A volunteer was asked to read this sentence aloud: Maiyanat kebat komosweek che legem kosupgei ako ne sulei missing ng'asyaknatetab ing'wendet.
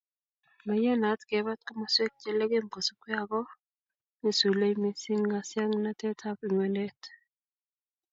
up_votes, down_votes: 2, 0